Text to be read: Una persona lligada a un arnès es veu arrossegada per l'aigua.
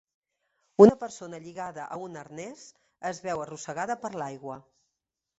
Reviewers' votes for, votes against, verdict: 3, 0, accepted